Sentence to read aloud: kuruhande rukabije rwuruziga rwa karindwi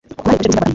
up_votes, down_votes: 1, 2